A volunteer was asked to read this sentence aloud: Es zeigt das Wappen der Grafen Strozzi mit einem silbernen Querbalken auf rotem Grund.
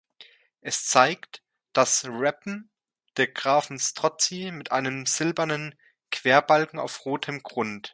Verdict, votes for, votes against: rejected, 0, 2